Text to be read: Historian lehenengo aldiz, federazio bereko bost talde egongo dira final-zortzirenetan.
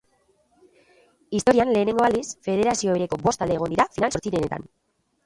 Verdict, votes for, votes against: rejected, 0, 2